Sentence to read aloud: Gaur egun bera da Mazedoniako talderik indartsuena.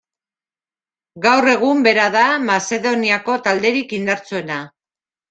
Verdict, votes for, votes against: accepted, 2, 1